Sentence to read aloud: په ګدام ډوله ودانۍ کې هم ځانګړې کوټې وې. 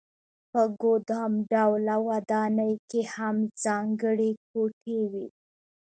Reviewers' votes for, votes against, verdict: 0, 2, rejected